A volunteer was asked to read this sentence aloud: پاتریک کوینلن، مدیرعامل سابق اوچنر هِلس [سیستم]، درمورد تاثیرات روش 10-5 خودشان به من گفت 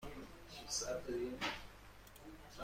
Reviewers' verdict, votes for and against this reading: rejected, 0, 2